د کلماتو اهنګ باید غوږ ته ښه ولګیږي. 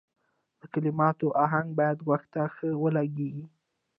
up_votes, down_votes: 0, 2